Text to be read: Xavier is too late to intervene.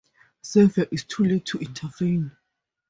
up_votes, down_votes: 4, 0